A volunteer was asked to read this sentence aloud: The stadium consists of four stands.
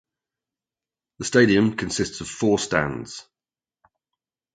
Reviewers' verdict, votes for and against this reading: accepted, 2, 0